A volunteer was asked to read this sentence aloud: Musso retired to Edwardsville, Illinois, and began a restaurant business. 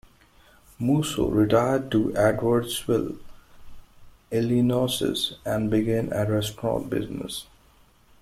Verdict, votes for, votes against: rejected, 0, 2